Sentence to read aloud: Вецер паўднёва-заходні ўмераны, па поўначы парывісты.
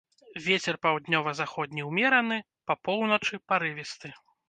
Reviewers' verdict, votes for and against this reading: accepted, 2, 0